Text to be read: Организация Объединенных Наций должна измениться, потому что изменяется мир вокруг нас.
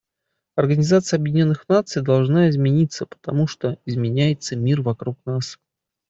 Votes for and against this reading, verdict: 2, 0, accepted